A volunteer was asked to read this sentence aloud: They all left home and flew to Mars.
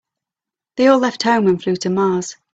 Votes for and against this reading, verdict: 3, 0, accepted